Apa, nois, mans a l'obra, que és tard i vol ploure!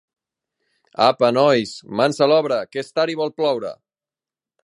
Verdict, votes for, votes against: accepted, 2, 0